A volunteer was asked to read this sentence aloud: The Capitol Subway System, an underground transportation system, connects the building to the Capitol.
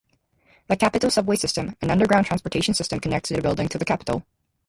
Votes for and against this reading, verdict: 0, 2, rejected